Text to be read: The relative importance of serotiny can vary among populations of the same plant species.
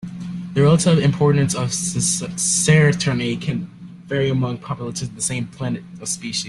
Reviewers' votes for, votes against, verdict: 1, 2, rejected